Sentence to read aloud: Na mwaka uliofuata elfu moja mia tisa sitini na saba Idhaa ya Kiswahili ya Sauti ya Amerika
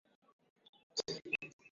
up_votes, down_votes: 0, 2